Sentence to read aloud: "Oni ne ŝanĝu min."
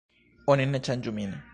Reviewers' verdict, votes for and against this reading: rejected, 1, 2